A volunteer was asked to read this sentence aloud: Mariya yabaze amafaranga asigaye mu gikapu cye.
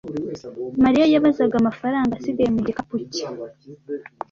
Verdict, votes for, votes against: accepted, 2, 0